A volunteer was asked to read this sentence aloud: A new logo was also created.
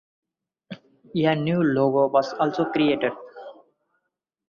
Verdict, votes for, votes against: rejected, 2, 4